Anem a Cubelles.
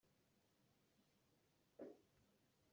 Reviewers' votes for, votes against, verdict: 0, 2, rejected